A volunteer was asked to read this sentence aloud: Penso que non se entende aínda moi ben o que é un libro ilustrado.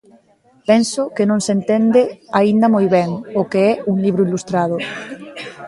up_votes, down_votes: 2, 0